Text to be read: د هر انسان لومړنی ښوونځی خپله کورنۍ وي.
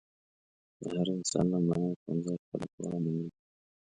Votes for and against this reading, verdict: 1, 2, rejected